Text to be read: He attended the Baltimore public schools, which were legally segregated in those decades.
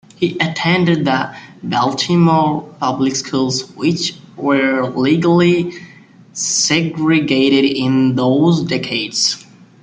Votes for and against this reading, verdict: 2, 0, accepted